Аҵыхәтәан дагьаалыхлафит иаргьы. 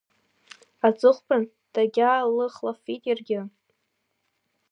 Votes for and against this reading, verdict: 1, 2, rejected